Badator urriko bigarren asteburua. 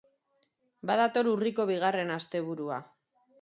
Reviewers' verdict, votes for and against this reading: accepted, 2, 0